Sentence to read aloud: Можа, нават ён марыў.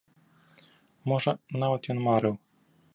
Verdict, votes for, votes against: accepted, 4, 0